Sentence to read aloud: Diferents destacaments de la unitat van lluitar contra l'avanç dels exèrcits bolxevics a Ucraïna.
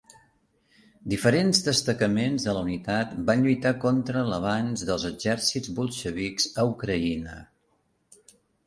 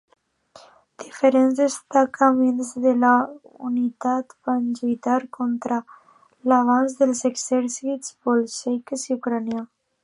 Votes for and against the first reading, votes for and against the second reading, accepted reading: 2, 0, 0, 2, first